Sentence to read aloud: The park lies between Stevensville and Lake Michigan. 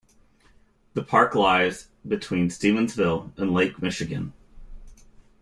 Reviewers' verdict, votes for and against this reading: accepted, 2, 0